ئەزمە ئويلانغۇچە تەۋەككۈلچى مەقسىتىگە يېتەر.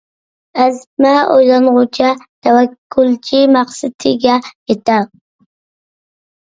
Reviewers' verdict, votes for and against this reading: accepted, 2, 0